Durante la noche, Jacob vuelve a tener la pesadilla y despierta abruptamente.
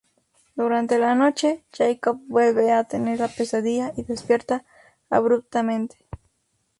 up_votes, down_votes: 2, 0